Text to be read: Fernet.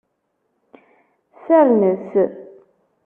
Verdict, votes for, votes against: accepted, 2, 0